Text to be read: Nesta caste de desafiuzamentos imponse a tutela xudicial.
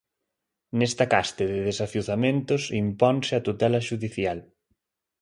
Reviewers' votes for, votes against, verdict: 2, 0, accepted